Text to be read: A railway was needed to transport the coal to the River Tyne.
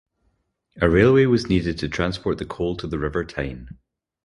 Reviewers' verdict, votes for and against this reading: accepted, 4, 0